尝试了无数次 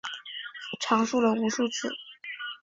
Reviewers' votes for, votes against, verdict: 4, 0, accepted